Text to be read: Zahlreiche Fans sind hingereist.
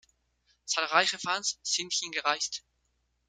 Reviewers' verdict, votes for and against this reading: accepted, 2, 0